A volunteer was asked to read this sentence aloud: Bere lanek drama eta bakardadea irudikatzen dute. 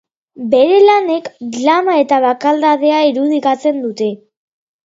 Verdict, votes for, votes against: rejected, 1, 2